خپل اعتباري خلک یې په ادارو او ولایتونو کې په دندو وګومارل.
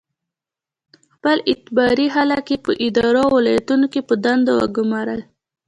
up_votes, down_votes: 2, 0